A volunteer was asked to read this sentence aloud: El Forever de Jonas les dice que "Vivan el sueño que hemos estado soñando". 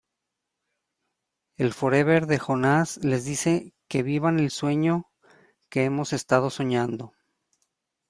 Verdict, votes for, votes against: rejected, 0, 2